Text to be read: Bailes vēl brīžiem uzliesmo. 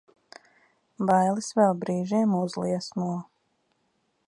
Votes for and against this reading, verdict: 2, 0, accepted